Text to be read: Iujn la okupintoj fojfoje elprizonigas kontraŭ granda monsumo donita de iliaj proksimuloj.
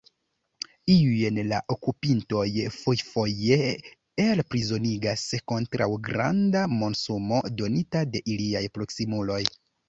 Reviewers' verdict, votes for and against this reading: rejected, 1, 2